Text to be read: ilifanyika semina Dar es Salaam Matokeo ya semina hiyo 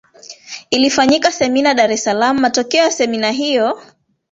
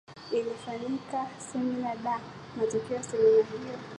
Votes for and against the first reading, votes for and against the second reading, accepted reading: 3, 1, 0, 2, first